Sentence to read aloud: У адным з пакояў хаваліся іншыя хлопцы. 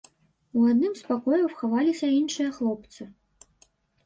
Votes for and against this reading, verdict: 2, 0, accepted